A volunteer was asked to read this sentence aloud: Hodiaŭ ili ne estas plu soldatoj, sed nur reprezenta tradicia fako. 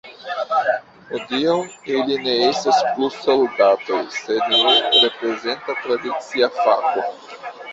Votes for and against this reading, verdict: 2, 1, accepted